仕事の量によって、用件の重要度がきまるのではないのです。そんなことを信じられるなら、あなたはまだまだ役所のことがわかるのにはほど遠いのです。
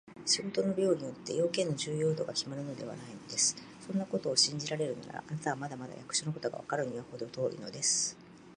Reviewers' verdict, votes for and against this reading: accepted, 2, 0